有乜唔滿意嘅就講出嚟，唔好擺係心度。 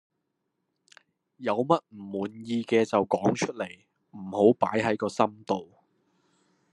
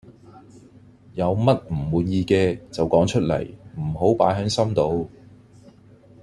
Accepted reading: second